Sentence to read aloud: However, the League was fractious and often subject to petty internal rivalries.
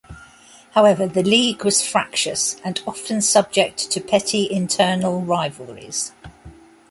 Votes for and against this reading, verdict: 2, 0, accepted